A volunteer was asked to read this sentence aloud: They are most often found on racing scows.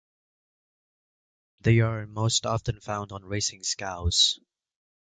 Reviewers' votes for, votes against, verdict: 2, 1, accepted